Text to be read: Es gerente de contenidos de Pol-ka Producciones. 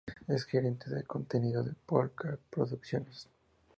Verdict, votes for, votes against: rejected, 2, 2